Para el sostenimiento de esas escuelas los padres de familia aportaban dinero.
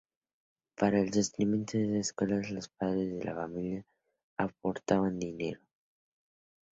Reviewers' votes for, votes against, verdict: 0, 2, rejected